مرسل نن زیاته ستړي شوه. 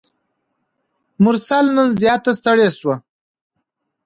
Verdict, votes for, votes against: accepted, 2, 0